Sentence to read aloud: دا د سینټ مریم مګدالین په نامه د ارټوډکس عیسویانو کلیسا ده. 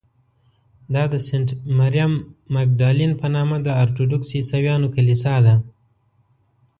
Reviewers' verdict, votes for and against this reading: accepted, 2, 0